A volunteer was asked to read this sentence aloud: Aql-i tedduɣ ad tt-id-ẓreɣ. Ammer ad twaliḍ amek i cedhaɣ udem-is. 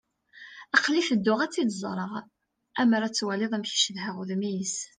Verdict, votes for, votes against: accepted, 2, 0